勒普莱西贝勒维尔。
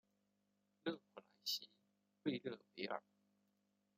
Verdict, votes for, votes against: rejected, 0, 2